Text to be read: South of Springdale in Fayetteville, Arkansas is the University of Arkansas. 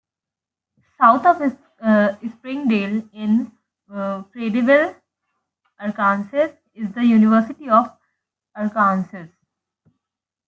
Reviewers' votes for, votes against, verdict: 0, 2, rejected